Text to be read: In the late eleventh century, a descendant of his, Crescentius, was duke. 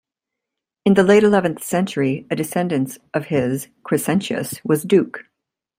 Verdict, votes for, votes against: rejected, 1, 2